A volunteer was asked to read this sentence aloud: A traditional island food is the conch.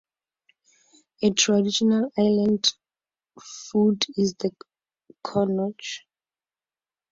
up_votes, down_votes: 0, 4